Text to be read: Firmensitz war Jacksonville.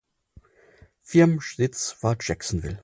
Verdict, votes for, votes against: rejected, 0, 4